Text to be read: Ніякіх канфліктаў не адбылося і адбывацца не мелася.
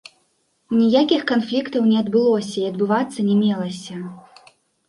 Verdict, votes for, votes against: accepted, 2, 0